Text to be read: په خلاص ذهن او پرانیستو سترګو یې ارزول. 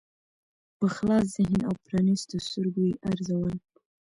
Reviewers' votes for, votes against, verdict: 2, 0, accepted